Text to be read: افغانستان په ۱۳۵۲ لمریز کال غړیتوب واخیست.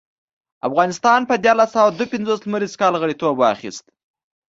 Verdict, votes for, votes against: rejected, 0, 2